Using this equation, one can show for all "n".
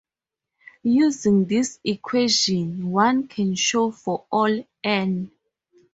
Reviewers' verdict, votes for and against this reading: accepted, 6, 0